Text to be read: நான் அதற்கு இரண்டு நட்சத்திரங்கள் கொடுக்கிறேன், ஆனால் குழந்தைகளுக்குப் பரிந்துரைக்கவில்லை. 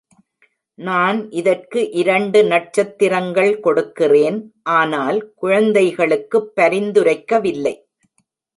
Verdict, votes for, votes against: rejected, 0, 2